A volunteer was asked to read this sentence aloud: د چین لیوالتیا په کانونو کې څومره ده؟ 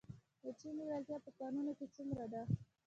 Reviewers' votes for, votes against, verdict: 0, 2, rejected